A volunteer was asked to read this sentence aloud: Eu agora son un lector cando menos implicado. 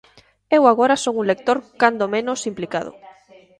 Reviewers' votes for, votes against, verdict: 1, 2, rejected